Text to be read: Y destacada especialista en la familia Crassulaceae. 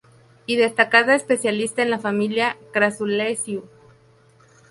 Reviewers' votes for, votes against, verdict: 0, 2, rejected